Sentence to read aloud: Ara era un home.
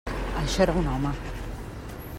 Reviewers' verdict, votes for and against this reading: rejected, 0, 2